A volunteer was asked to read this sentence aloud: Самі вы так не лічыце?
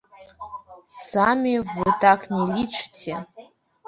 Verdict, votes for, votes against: rejected, 1, 2